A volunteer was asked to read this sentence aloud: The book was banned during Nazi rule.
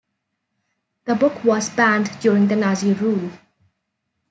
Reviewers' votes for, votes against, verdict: 1, 3, rejected